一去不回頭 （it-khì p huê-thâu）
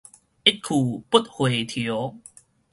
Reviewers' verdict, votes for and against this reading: rejected, 2, 2